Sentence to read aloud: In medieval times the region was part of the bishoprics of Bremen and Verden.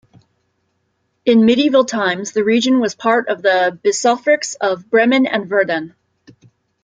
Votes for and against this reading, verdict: 2, 0, accepted